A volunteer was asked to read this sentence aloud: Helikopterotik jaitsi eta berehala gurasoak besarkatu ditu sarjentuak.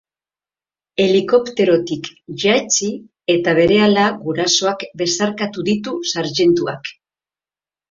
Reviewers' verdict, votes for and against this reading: accepted, 3, 0